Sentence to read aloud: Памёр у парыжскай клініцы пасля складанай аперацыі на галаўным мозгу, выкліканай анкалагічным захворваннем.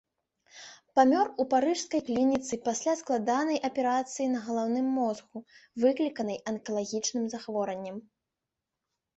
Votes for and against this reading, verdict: 2, 1, accepted